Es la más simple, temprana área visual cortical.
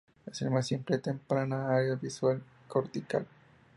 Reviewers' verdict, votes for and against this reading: accepted, 2, 0